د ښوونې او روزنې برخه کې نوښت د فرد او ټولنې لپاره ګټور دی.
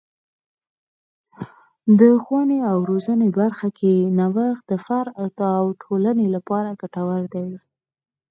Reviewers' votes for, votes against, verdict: 2, 4, rejected